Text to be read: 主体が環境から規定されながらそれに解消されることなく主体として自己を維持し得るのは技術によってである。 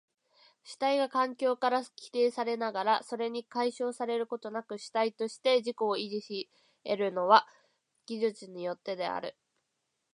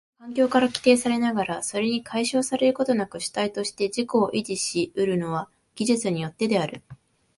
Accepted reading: first